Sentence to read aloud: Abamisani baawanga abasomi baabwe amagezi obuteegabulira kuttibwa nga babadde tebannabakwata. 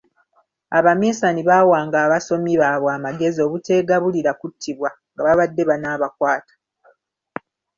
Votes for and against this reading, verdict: 0, 3, rejected